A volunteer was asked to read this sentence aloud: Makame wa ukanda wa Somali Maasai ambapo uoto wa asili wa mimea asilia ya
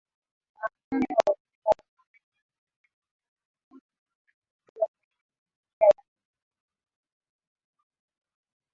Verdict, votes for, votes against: rejected, 0, 2